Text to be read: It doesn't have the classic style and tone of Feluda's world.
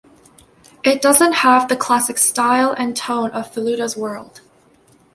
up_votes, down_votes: 2, 0